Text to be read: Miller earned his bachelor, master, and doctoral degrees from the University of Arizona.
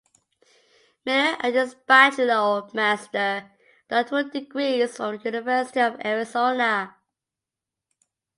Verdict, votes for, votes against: rejected, 1, 2